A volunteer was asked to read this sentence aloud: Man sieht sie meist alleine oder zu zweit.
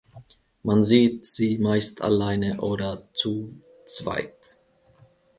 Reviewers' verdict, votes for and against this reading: accepted, 2, 0